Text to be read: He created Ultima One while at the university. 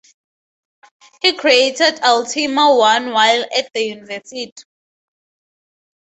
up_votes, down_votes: 0, 4